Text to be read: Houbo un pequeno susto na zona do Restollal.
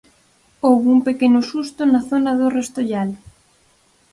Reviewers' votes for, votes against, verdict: 4, 0, accepted